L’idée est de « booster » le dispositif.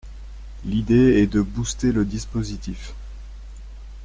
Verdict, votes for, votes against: accepted, 2, 0